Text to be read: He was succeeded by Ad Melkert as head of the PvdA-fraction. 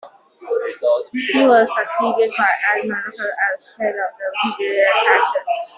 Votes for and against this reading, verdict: 0, 2, rejected